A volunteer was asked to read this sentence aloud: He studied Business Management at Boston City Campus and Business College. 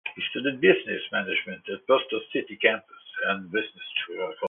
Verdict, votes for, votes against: rejected, 0, 2